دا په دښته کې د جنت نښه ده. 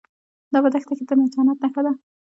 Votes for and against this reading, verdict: 0, 2, rejected